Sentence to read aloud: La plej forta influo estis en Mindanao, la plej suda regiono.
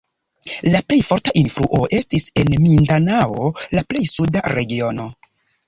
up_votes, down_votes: 2, 0